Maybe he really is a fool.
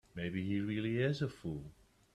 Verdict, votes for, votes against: accepted, 2, 0